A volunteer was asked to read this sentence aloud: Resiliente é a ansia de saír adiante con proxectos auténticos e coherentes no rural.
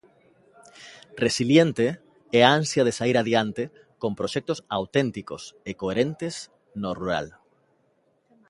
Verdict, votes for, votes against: accepted, 3, 0